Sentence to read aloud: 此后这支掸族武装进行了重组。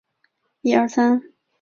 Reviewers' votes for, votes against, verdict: 0, 2, rejected